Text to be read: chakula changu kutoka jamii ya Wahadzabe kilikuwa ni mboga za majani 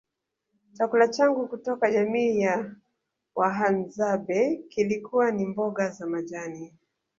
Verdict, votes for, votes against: accepted, 2, 1